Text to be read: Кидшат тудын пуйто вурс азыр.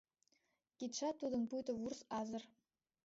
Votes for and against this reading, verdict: 1, 2, rejected